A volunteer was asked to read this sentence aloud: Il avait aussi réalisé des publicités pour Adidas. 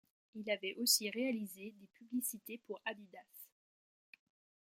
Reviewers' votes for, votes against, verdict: 1, 2, rejected